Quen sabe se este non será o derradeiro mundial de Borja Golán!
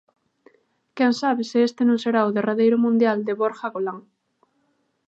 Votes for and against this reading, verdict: 2, 0, accepted